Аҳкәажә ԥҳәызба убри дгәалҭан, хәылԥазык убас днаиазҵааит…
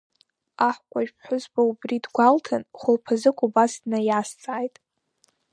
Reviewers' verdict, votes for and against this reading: accepted, 2, 0